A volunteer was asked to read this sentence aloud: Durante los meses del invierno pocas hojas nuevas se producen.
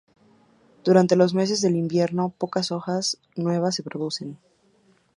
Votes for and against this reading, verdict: 2, 0, accepted